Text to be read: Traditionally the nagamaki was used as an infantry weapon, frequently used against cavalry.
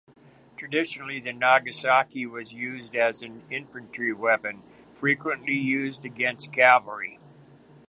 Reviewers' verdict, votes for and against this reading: rejected, 1, 2